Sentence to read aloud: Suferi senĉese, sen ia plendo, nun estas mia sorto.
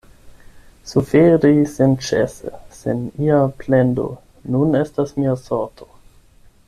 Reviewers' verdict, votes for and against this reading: accepted, 8, 0